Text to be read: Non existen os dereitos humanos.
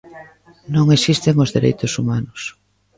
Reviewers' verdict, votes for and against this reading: rejected, 1, 2